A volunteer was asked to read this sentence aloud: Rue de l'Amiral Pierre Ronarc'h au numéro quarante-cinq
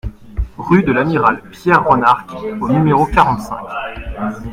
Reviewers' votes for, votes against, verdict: 2, 0, accepted